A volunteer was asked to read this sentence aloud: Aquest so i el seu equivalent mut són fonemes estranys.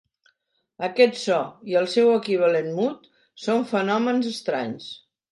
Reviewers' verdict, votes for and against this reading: rejected, 0, 2